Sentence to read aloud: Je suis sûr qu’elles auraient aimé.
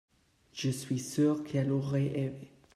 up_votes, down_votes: 0, 2